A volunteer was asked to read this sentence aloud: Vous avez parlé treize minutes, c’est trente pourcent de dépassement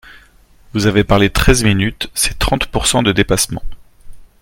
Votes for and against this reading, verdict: 3, 0, accepted